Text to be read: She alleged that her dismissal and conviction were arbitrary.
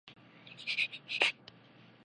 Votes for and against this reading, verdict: 0, 2, rejected